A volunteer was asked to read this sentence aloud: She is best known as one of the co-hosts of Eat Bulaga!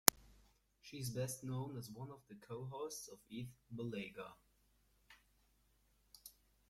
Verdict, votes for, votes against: rejected, 1, 2